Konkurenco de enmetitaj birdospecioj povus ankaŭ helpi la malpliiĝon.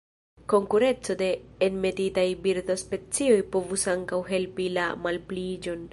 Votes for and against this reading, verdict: 0, 2, rejected